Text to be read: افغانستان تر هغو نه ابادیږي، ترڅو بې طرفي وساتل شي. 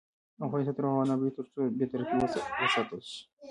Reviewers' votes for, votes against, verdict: 1, 2, rejected